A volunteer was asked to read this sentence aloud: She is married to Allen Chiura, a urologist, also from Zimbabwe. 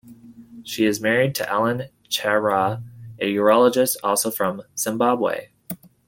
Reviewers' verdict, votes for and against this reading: accepted, 2, 0